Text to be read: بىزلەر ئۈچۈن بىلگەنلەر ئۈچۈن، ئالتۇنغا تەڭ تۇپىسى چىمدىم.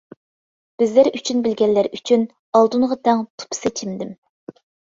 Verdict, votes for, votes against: rejected, 1, 2